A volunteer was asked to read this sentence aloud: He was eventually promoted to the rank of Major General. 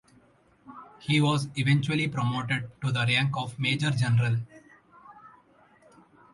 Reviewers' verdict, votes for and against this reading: rejected, 0, 2